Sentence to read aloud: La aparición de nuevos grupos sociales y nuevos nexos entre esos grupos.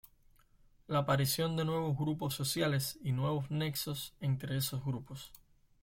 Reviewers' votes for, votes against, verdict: 0, 2, rejected